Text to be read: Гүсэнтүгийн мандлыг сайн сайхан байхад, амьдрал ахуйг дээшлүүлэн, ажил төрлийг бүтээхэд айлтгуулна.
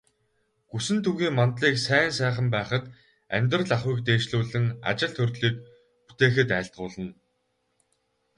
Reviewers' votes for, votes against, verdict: 2, 2, rejected